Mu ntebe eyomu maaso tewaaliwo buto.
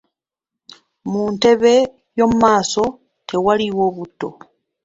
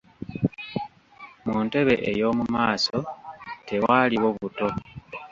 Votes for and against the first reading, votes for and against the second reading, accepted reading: 2, 0, 1, 2, first